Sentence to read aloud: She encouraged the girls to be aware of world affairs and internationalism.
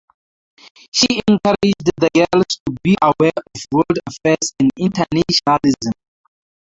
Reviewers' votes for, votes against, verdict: 0, 4, rejected